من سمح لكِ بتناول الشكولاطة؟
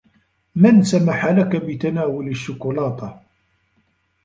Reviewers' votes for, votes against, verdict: 1, 2, rejected